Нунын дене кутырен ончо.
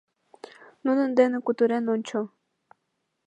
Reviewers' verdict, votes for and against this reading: accepted, 2, 0